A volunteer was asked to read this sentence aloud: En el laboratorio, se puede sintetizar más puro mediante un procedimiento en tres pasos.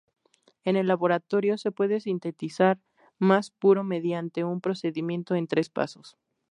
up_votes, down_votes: 2, 0